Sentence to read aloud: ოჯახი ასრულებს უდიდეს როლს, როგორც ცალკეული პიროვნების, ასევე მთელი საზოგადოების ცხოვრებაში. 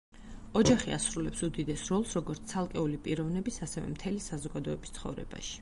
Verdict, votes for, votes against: accepted, 4, 0